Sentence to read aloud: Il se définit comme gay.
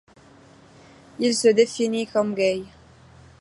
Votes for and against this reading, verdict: 2, 1, accepted